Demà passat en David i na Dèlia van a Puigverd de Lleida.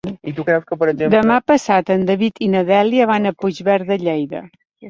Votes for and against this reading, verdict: 0, 2, rejected